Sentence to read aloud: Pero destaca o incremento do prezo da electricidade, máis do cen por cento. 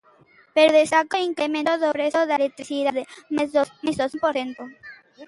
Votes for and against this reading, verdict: 0, 2, rejected